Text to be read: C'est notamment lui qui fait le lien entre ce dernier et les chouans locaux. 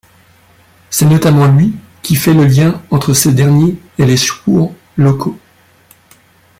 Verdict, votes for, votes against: rejected, 1, 2